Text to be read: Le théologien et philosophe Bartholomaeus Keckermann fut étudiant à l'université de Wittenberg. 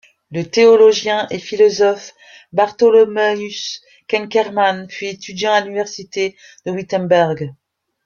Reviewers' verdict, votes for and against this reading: accepted, 2, 1